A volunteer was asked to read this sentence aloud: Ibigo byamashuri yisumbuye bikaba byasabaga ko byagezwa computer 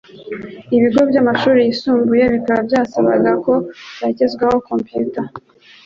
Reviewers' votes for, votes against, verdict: 2, 1, accepted